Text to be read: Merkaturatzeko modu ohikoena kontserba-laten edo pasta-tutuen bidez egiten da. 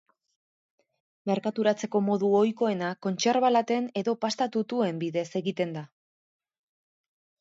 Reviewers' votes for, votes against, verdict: 4, 0, accepted